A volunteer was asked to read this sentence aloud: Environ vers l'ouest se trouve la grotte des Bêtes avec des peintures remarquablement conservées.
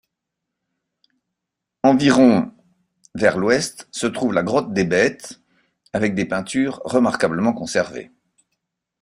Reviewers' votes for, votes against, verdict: 2, 0, accepted